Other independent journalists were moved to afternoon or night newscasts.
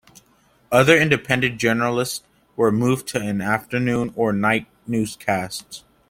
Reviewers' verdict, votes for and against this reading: accepted, 2, 1